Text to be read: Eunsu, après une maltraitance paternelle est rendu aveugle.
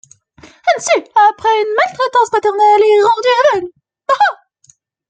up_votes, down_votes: 0, 2